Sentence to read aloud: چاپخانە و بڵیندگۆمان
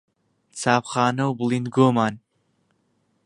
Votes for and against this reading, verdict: 2, 0, accepted